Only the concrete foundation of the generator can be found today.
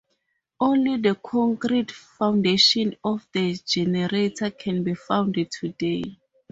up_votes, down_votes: 0, 4